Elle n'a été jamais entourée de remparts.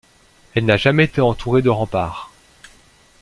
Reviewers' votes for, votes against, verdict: 0, 2, rejected